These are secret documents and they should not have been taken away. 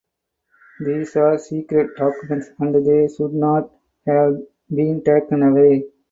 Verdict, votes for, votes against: accepted, 4, 2